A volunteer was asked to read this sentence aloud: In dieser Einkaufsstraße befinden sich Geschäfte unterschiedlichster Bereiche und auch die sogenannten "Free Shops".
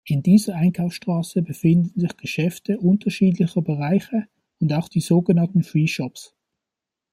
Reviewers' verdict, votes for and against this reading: rejected, 1, 2